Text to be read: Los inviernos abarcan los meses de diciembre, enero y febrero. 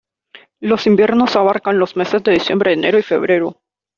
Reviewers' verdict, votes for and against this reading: accepted, 2, 0